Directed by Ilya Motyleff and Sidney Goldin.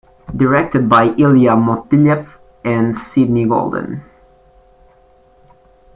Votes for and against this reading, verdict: 2, 0, accepted